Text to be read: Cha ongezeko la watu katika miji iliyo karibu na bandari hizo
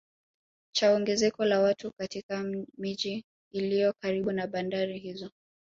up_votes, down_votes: 2, 3